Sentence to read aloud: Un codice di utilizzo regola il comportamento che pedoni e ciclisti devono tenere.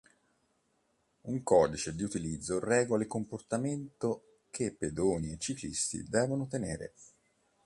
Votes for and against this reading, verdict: 2, 0, accepted